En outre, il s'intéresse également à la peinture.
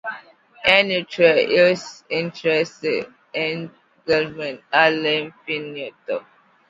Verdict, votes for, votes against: rejected, 1, 2